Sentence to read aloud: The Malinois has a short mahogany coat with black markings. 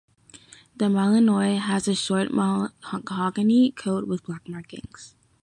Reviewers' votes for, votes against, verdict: 2, 3, rejected